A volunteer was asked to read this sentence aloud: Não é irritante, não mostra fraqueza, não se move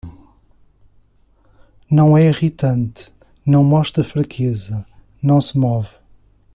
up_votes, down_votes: 2, 0